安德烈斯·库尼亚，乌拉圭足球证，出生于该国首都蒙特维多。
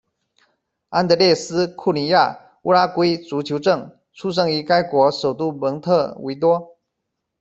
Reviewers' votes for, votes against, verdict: 2, 1, accepted